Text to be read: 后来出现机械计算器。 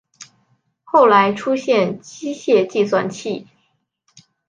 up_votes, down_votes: 5, 0